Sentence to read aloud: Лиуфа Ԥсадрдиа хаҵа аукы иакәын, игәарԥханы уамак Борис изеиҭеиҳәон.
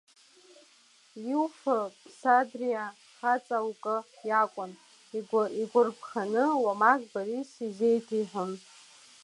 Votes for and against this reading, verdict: 1, 2, rejected